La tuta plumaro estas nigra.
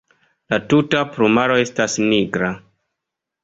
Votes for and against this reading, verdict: 2, 0, accepted